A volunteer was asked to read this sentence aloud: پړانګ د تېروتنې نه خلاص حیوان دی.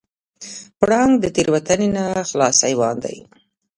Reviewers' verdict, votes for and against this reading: accepted, 2, 0